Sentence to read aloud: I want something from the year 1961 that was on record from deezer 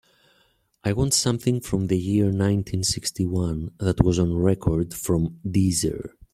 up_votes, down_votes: 0, 2